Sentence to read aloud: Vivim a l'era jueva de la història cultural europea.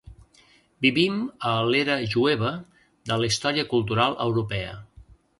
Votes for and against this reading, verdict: 2, 0, accepted